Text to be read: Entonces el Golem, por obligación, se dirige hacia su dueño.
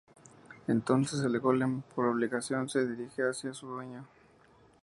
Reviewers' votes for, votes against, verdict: 0, 2, rejected